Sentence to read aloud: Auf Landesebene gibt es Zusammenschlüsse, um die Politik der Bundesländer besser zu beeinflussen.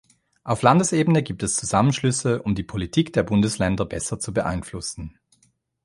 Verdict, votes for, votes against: accepted, 3, 0